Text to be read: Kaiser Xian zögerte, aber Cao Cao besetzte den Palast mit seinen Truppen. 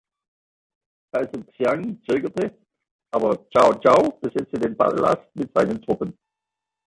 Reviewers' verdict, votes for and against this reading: accepted, 2, 0